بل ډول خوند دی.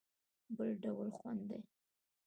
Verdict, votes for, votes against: rejected, 0, 2